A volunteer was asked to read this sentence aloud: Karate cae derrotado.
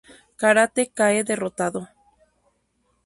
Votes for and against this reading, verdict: 2, 0, accepted